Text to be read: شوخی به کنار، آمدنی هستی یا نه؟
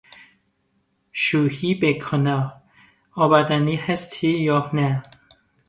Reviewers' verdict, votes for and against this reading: rejected, 0, 2